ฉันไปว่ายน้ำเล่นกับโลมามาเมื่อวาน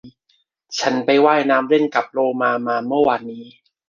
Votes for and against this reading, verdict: 1, 2, rejected